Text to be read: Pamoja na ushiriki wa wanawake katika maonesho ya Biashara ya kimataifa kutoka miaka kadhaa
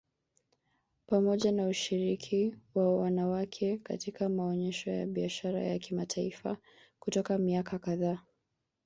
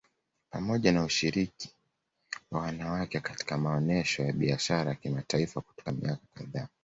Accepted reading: second